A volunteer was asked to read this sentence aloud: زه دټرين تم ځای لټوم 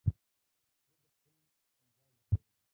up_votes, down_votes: 0, 2